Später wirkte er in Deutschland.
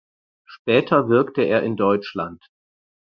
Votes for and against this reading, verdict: 4, 0, accepted